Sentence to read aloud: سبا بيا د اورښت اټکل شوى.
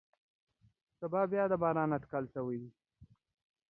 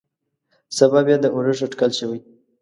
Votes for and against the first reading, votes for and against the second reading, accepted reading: 0, 2, 2, 0, second